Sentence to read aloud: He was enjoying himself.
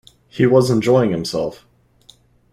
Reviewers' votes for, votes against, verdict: 1, 2, rejected